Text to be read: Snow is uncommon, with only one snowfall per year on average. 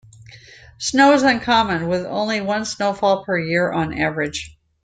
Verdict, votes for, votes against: accepted, 2, 0